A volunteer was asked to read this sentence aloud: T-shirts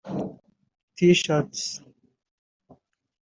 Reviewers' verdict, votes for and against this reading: rejected, 1, 2